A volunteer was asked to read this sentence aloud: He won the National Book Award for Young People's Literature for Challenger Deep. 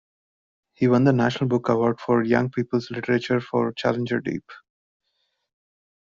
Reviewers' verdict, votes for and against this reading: rejected, 0, 2